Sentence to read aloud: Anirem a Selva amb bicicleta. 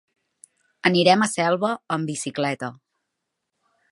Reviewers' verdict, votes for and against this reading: accepted, 3, 0